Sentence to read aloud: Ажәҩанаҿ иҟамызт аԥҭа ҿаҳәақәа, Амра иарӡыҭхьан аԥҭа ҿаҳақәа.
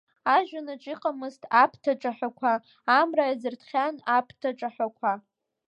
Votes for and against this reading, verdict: 0, 2, rejected